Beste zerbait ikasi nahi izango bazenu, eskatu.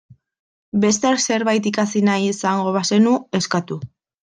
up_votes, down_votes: 2, 0